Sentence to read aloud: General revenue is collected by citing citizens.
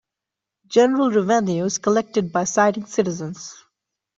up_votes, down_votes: 2, 1